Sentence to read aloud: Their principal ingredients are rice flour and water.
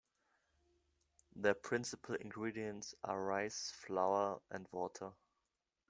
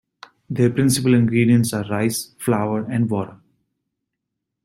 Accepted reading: first